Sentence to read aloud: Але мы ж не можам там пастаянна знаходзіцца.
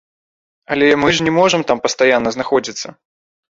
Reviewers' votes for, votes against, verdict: 2, 0, accepted